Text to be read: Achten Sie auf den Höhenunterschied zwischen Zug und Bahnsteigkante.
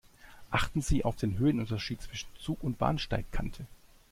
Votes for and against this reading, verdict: 2, 0, accepted